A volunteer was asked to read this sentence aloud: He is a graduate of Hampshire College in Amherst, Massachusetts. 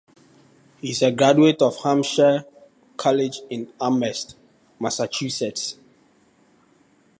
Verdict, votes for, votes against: accepted, 2, 0